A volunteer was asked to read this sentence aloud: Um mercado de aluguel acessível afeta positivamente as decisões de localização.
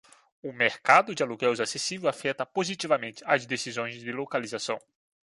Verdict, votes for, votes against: rejected, 0, 2